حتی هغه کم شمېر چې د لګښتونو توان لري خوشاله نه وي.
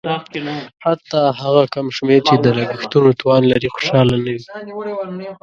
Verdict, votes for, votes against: rejected, 0, 2